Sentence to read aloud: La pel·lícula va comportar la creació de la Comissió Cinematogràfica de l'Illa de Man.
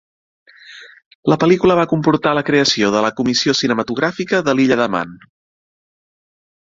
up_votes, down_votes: 0, 2